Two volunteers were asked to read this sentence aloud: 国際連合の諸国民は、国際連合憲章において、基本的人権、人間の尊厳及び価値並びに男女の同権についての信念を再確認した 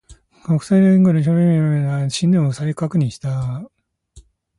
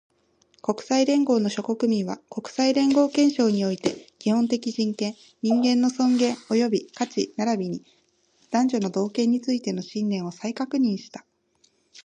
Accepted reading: second